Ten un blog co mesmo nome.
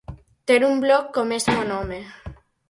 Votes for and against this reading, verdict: 0, 4, rejected